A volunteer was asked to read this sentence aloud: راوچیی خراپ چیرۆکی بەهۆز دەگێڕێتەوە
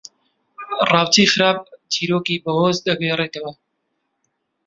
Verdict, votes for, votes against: accepted, 2, 1